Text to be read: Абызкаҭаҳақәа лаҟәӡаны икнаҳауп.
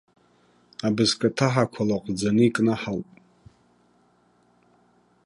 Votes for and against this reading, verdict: 2, 0, accepted